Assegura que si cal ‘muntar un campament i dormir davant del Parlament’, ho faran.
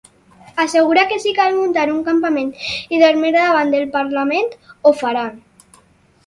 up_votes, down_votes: 4, 0